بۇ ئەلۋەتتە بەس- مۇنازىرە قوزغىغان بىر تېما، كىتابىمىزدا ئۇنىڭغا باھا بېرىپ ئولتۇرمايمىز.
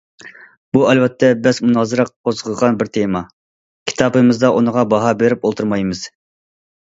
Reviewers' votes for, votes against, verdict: 2, 0, accepted